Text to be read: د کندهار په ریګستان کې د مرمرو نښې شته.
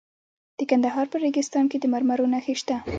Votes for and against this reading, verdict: 2, 0, accepted